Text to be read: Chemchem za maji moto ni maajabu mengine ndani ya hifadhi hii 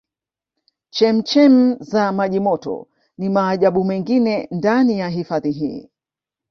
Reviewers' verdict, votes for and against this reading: rejected, 1, 2